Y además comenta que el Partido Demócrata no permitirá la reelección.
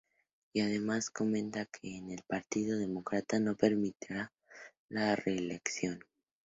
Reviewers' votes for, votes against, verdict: 2, 0, accepted